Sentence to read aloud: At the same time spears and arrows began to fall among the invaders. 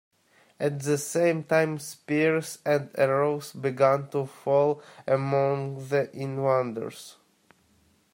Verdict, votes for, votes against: rejected, 1, 2